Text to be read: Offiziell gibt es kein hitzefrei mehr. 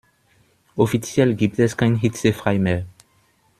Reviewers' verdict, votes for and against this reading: accepted, 2, 0